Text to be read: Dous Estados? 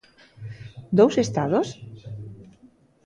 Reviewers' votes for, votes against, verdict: 2, 0, accepted